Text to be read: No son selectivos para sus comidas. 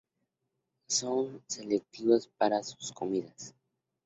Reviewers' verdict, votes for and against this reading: rejected, 2, 2